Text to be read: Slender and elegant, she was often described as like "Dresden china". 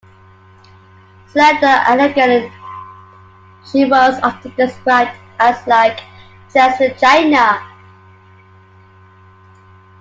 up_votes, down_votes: 1, 2